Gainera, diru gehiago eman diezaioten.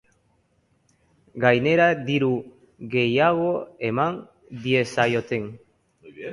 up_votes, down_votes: 3, 2